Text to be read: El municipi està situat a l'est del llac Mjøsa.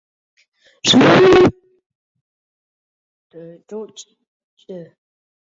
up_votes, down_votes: 0, 2